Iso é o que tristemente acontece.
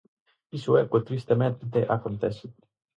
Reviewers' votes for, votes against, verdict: 2, 2, rejected